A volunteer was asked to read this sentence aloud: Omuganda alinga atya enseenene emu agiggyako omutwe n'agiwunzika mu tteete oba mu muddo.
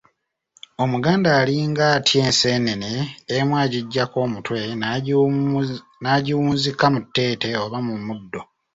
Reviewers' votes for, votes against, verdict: 2, 0, accepted